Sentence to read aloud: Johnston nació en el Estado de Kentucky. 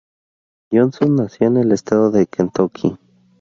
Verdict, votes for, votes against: accepted, 2, 0